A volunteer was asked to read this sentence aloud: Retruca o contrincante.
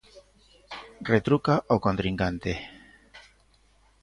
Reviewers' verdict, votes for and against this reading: accepted, 2, 0